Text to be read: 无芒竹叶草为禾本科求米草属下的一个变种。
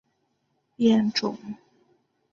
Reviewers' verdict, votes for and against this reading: rejected, 0, 2